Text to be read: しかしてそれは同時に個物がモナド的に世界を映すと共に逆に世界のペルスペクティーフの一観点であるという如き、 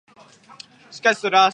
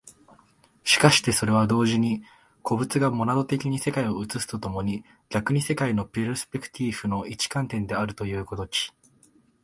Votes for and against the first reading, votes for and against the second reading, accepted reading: 0, 2, 2, 1, second